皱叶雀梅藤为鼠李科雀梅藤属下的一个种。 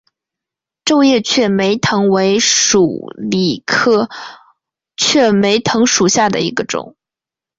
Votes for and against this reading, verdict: 3, 0, accepted